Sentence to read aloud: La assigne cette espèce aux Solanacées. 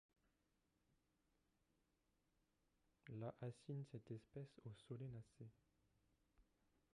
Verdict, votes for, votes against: rejected, 0, 2